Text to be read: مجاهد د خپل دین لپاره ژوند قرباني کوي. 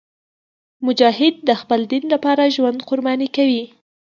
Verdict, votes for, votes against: accepted, 2, 0